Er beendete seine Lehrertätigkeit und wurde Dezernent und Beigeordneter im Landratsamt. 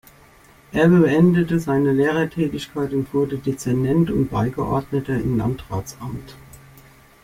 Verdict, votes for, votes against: accepted, 2, 0